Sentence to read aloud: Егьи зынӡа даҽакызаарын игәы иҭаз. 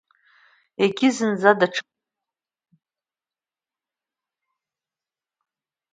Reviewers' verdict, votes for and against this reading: rejected, 0, 2